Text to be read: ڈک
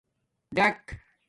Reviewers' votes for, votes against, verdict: 2, 0, accepted